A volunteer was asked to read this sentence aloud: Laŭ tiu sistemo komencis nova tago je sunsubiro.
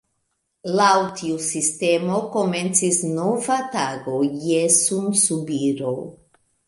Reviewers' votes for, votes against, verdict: 2, 1, accepted